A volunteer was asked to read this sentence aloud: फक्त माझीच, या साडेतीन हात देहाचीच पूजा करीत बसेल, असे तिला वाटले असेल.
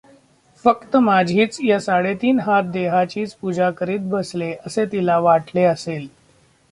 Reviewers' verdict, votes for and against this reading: rejected, 1, 2